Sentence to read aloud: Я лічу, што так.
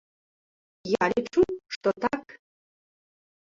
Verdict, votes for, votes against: rejected, 1, 3